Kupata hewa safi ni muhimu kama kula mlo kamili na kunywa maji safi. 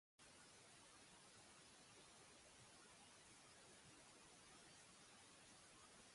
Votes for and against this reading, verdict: 0, 2, rejected